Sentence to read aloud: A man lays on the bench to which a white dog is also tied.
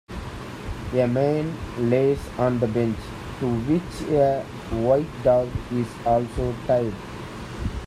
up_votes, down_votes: 1, 2